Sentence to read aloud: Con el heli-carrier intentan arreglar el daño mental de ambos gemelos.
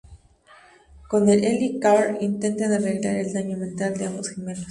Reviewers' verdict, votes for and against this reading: accepted, 2, 0